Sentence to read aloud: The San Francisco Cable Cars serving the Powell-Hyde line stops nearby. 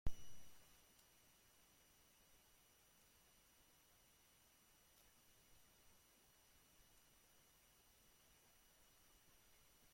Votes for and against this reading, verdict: 0, 2, rejected